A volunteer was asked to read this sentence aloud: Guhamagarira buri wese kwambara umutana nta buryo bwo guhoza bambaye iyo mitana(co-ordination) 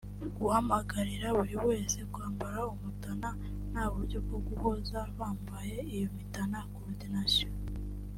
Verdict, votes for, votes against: accepted, 2, 0